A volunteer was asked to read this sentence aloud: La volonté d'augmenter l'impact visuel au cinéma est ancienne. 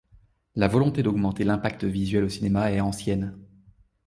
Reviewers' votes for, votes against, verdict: 0, 2, rejected